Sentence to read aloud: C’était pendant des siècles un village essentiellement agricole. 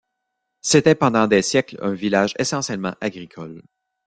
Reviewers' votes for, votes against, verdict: 2, 0, accepted